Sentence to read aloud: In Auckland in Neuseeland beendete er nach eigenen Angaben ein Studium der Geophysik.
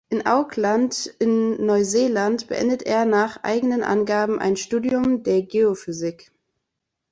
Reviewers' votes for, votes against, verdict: 1, 2, rejected